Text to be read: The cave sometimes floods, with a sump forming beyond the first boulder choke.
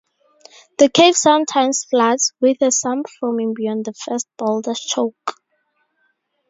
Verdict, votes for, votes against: accepted, 4, 0